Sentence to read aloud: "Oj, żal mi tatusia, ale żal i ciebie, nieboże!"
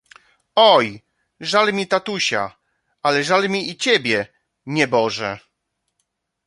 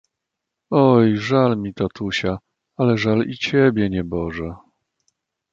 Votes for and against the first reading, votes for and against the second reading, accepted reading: 1, 2, 2, 0, second